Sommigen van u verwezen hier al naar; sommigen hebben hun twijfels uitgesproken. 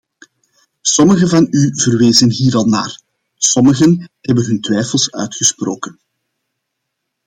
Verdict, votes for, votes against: accepted, 2, 0